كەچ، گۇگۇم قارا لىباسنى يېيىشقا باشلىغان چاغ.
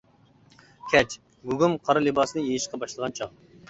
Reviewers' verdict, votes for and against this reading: accepted, 2, 0